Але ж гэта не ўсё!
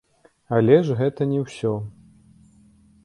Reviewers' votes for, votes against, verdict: 2, 1, accepted